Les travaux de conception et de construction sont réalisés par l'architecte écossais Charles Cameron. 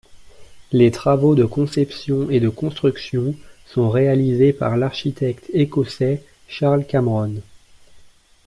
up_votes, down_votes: 2, 0